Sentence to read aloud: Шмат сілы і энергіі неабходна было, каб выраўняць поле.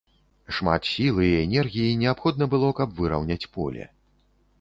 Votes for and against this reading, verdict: 2, 0, accepted